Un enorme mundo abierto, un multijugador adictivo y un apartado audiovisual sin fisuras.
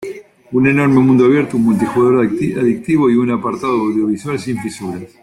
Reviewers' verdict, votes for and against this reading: accepted, 2, 1